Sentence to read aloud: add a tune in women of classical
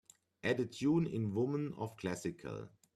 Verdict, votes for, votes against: accepted, 2, 0